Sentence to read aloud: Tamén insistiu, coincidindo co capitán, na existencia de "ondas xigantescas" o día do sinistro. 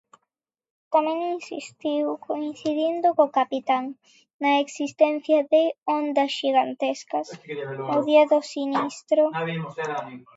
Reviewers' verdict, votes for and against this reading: rejected, 0, 2